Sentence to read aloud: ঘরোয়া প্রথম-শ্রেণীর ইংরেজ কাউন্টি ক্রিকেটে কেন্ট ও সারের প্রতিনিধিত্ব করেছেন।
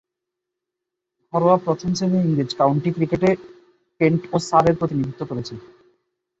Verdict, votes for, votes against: accepted, 2, 1